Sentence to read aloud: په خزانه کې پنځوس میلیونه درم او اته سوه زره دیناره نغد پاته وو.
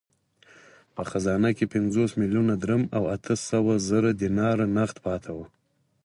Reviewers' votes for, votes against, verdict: 4, 0, accepted